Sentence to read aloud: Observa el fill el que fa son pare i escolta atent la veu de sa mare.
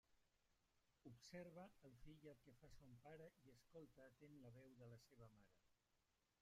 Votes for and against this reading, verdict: 0, 2, rejected